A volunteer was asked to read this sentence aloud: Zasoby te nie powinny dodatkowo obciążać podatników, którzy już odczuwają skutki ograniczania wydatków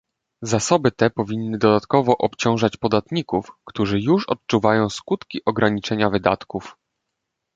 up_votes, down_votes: 1, 2